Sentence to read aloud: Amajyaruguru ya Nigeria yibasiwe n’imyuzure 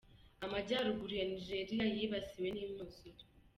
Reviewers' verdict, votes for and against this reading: rejected, 1, 2